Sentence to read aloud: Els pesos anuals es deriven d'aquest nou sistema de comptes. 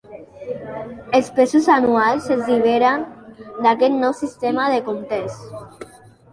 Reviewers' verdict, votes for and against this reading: rejected, 1, 2